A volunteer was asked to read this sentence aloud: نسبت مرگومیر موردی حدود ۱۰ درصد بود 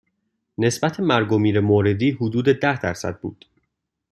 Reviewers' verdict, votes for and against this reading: rejected, 0, 2